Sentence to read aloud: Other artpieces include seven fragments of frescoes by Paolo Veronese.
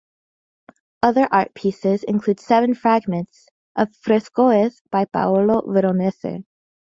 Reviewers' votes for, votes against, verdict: 1, 2, rejected